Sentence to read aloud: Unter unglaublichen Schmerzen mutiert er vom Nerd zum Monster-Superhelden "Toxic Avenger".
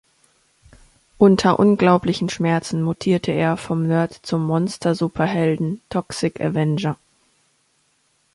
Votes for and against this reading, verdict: 1, 2, rejected